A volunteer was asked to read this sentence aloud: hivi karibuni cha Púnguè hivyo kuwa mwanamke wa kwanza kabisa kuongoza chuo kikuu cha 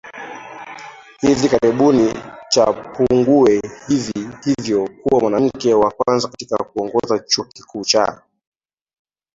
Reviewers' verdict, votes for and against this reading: rejected, 1, 2